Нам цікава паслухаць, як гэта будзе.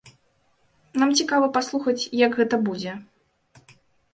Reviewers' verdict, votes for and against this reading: accepted, 2, 0